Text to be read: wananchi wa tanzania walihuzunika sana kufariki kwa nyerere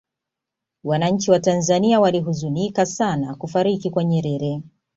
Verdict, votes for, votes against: rejected, 1, 2